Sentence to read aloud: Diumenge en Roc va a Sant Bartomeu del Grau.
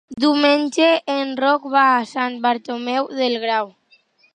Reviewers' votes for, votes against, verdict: 3, 0, accepted